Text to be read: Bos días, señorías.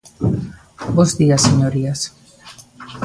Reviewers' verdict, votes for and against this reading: accepted, 2, 0